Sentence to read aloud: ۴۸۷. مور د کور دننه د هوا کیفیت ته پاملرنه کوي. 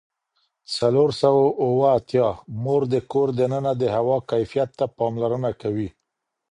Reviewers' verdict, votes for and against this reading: rejected, 0, 2